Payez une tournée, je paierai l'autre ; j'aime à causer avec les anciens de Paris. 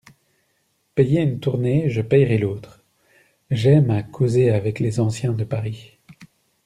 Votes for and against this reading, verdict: 2, 0, accepted